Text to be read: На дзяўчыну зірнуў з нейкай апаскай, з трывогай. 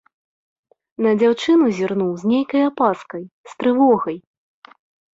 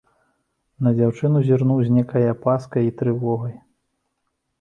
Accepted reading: first